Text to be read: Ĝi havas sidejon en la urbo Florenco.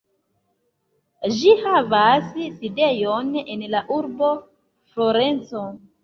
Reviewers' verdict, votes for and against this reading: accepted, 2, 1